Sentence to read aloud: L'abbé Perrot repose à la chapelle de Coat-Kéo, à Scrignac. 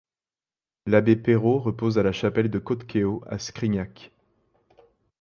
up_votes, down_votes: 2, 0